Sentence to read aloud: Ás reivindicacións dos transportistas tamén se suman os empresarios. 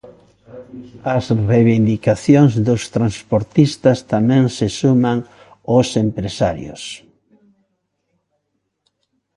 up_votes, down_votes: 2, 0